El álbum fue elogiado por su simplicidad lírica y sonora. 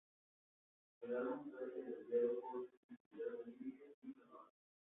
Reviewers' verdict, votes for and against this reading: rejected, 0, 2